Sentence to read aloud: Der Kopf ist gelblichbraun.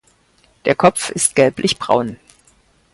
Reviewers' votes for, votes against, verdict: 4, 2, accepted